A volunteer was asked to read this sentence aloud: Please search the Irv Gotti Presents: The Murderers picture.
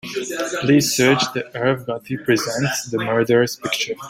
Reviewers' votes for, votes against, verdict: 1, 2, rejected